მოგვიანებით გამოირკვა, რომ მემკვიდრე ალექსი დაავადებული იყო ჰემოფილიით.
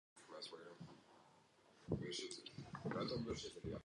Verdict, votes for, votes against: rejected, 0, 2